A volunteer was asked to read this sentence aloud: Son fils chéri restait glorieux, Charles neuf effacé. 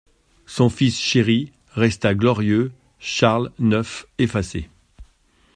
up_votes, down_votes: 1, 2